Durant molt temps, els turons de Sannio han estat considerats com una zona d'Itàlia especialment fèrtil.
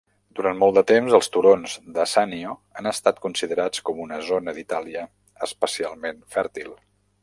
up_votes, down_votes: 0, 2